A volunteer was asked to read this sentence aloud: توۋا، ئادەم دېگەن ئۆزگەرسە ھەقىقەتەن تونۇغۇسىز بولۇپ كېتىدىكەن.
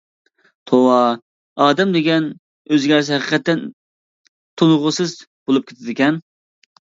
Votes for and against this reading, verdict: 2, 0, accepted